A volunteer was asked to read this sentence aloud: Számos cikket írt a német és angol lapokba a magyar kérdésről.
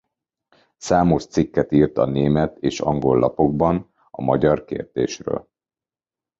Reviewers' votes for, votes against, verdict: 1, 2, rejected